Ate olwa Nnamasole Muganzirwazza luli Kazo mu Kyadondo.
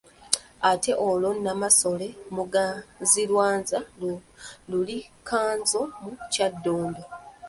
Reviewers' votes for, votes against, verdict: 1, 2, rejected